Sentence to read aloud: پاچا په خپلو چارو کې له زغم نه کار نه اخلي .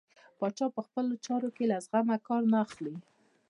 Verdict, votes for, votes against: rejected, 0, 2